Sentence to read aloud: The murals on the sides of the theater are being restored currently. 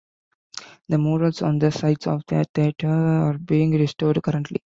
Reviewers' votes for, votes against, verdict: 2, 0, accepted